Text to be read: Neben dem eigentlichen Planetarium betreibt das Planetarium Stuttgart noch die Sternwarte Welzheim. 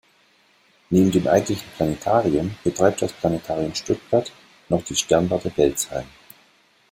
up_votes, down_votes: 2, 0